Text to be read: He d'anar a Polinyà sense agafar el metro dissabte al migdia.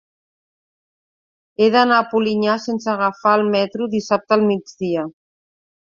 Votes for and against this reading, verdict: 2, 0, accepted